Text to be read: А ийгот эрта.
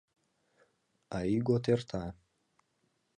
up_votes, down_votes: 3, 0